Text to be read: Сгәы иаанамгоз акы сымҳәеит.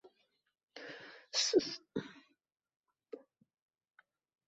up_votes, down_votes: 1, 2